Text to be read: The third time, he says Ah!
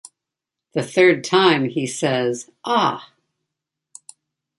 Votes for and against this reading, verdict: 2, 0, accepted